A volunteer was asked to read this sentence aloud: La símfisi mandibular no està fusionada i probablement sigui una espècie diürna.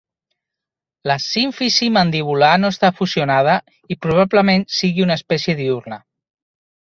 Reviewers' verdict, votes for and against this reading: accepted, 3, 0